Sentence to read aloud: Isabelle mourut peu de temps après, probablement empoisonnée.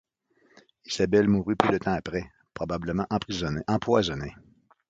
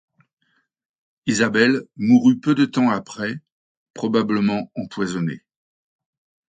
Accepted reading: second